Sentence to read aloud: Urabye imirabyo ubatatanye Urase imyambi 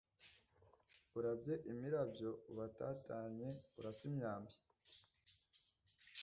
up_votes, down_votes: 1, 2